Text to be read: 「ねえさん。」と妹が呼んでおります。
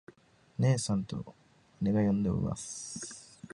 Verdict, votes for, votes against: rejected, 0, 2